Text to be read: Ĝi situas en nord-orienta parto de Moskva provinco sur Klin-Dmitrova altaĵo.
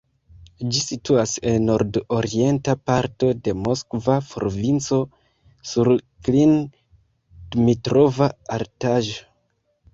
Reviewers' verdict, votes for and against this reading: rejected, 0, 2